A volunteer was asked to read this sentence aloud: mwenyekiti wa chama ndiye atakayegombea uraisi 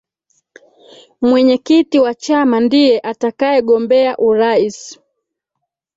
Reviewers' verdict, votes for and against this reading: accepted, 2, 1